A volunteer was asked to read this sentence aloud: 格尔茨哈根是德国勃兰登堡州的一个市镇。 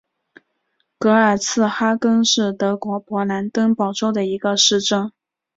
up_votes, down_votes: 2, 1